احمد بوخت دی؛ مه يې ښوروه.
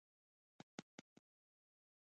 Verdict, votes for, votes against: rejected, 0, 2